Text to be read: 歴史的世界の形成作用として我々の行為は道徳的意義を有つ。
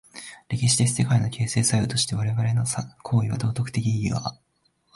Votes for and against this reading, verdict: 0, 2, rejected